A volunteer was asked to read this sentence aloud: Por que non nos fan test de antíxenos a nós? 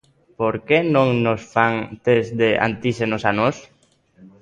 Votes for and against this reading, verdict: 2, 0, accepted